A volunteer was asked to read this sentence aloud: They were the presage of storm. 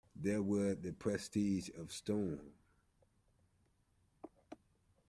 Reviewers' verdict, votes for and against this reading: rejected, 0, 2